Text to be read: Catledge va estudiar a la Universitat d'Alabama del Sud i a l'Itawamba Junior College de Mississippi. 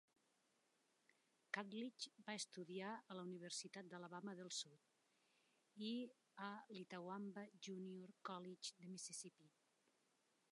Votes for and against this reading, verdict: 2, 0, accepted